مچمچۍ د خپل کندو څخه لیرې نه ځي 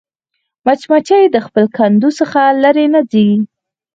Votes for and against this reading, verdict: 4, 0, accepted